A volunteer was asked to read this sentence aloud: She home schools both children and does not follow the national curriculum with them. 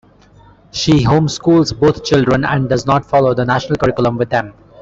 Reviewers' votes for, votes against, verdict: 2, 1, accepted